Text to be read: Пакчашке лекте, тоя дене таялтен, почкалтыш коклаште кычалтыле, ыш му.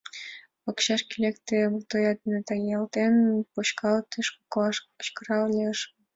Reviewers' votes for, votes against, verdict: 1, 3, rejected